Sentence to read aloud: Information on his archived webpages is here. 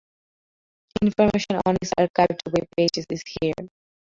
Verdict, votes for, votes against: accepted, 2, 1